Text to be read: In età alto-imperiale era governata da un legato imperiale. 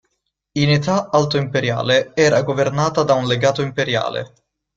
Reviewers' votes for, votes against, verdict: 2, 0, accepted